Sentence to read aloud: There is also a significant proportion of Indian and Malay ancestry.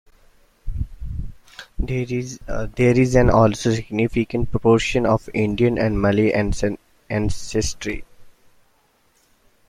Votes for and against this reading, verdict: 1, 2, rejected